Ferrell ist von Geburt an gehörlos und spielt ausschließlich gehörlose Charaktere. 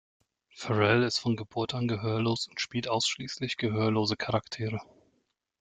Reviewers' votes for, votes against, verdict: 2, 0, accepted